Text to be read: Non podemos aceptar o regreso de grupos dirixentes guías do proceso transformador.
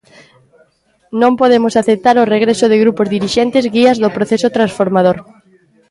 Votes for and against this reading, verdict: 2, 1, accepted